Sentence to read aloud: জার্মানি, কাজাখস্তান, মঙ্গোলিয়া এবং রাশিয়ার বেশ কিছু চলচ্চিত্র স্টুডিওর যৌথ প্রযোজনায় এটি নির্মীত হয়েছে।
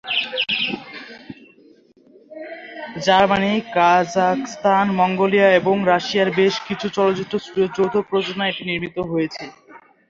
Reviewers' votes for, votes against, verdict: 2, 3, rejected